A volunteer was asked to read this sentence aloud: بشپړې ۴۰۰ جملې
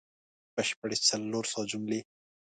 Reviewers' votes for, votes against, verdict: 0, 2, rejected